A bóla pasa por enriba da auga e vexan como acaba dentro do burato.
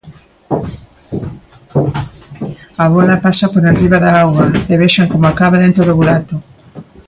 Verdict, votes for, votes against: rejected, 1, 2